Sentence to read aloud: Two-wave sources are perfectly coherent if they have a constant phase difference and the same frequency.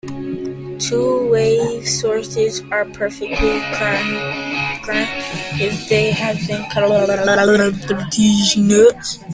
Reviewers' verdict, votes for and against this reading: rejected, 0, 2